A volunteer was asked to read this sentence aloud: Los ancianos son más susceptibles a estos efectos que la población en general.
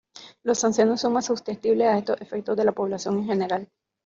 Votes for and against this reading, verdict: 0, 2, rejected